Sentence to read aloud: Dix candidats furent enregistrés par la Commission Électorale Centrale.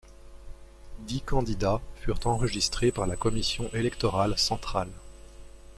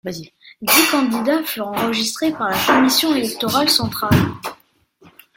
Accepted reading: first